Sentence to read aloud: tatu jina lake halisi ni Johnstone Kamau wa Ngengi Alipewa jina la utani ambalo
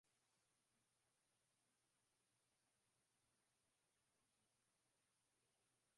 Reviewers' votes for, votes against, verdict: 0, 7, rejected